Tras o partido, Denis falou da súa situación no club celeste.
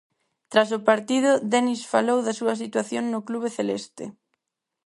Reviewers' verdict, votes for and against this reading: rejected, 0, 4